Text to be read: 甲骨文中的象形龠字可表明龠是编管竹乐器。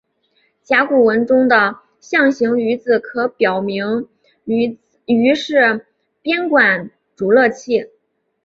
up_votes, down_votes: 2, 0